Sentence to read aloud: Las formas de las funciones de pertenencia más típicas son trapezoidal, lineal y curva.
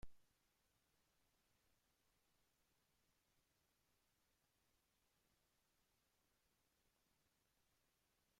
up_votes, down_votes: 0, 2